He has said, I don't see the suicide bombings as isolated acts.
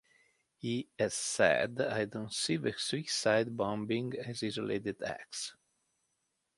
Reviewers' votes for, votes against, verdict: 1, 3, rejected